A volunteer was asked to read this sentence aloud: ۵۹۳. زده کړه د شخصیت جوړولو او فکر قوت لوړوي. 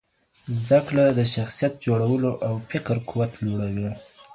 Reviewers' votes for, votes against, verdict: 0, 2, rejected